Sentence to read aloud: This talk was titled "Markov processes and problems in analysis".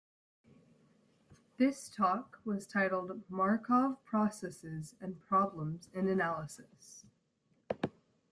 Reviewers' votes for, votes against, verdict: 2, 0, accepted